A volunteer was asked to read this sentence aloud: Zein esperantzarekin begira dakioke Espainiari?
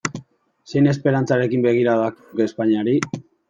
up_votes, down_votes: 0, 2